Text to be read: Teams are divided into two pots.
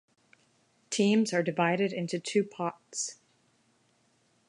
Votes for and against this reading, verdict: 2, 0, accepted